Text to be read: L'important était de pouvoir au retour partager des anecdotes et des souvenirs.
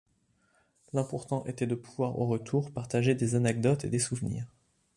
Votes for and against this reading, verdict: 3, 0, accepted